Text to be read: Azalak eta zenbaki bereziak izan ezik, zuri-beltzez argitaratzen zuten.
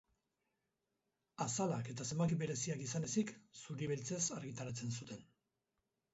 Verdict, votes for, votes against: rejected, 2, 2